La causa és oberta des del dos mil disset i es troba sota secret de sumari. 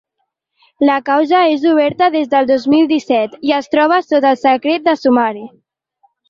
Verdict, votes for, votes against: accepted, 2, 1